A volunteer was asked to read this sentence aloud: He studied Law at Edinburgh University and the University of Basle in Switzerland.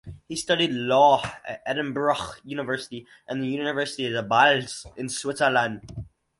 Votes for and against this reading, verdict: 2, 2, rejected